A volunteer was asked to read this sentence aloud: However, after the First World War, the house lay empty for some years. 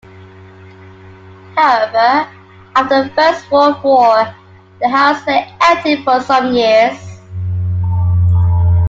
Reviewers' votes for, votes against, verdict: 2, 1, accepted